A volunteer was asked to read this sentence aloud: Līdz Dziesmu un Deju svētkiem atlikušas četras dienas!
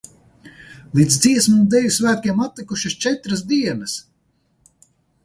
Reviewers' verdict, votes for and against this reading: accepted, 4, 0